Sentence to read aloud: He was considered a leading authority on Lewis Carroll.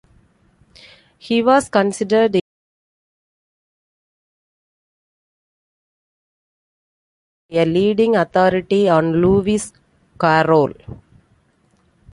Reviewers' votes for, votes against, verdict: 0, 2, rejected